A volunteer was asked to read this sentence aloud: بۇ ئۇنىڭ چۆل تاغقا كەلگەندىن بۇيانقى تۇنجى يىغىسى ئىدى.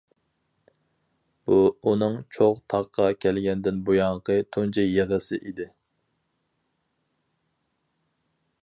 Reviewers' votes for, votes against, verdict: 0, 4, rejected